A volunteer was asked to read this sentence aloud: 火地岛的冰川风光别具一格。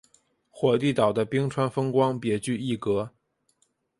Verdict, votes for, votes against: accepted, 2, 0